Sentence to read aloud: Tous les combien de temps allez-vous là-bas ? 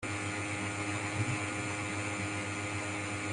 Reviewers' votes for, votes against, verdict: 0, 2, rejected